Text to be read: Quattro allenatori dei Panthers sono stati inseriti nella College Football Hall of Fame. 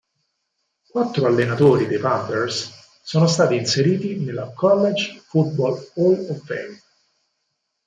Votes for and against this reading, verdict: 4, 0, accepted